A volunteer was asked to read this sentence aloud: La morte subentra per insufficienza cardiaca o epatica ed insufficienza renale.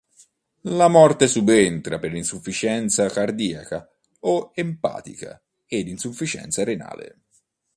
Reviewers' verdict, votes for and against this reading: rejected, 0, 2